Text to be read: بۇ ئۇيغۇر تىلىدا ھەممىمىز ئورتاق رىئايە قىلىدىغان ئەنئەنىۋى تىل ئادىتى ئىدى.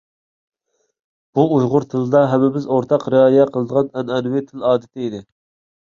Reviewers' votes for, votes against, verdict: 2, 0, accepted